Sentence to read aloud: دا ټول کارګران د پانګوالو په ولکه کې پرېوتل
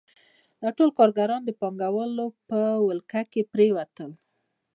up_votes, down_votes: 1, 2